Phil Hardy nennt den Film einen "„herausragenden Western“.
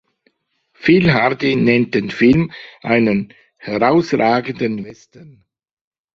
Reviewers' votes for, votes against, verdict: 1, 2, rejected